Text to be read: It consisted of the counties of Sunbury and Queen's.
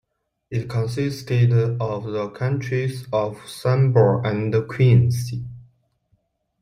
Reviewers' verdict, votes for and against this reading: accepted, 2, 0